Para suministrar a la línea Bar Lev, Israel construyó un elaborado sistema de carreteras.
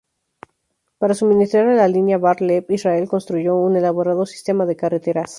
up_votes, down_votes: 2, 0